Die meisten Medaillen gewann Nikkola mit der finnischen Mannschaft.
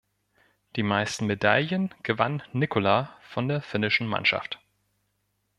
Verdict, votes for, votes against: rejected, 0, 2